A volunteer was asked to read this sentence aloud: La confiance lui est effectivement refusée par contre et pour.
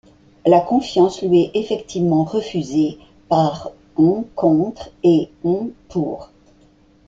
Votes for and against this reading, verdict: 1, 2, rejected